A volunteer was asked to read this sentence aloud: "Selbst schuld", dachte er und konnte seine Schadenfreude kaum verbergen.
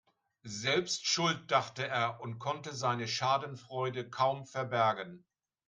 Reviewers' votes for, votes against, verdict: 4, 0, accepted